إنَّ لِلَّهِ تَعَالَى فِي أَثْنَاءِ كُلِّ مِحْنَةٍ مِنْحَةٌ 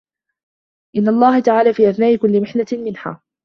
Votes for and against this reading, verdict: 0, 2, rejected